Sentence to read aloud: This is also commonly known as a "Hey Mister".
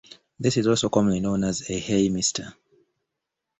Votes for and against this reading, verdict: 2, 0, accepted